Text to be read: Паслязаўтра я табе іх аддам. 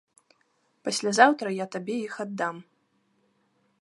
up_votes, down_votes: 2, 0